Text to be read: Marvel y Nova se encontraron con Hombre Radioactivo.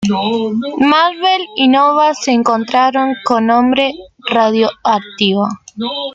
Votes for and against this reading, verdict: 2, 1, accepted